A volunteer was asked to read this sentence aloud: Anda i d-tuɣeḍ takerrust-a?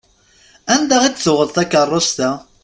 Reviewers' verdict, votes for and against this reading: accepted, 2, 0